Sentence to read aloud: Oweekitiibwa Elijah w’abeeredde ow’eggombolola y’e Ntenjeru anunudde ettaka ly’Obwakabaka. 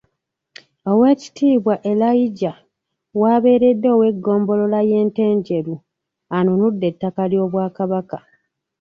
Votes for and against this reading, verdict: 1, 2, rejected